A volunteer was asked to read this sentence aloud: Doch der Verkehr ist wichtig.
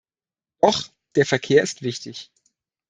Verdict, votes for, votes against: rejected, 1, 2